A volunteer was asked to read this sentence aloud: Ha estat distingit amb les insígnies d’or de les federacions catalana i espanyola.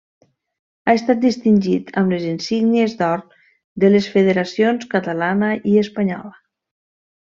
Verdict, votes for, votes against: rejected, 0, 2